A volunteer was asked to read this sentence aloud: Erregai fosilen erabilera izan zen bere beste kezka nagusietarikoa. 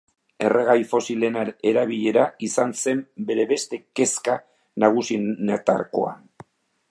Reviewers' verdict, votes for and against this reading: rejected, 0, 2